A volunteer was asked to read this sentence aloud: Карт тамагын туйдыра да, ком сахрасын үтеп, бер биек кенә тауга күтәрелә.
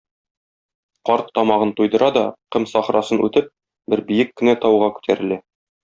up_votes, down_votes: 2, 0